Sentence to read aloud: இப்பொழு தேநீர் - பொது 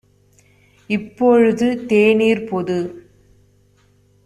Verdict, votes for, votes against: rejected, 0, 2